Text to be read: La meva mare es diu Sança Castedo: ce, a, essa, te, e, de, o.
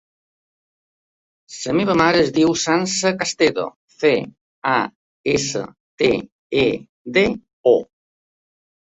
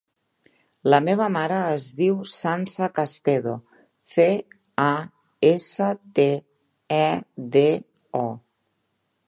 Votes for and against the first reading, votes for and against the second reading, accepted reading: 1, 2, 3, 0, second